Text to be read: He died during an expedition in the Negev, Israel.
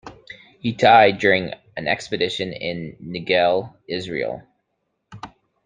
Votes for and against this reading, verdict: 1, 2, rejected